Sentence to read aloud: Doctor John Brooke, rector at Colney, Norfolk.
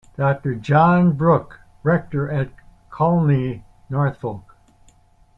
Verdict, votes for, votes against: rejected, 1, 2